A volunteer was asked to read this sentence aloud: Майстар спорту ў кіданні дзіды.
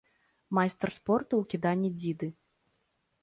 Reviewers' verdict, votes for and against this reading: accepted, 2, 0